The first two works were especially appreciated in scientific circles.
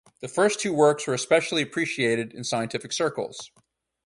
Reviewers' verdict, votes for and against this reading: accepted, 4, 0